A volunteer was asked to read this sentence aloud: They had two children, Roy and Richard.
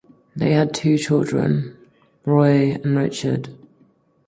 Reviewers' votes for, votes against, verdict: 4, 0, accepted